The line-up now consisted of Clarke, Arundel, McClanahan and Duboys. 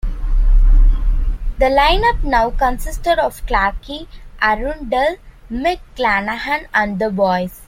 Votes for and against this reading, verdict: 0, 2, rejected